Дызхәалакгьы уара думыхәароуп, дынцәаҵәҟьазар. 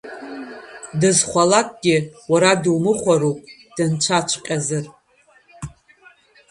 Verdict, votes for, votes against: rejected, 0, 2